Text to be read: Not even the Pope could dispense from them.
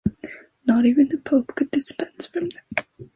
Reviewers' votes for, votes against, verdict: 2, 0, accepted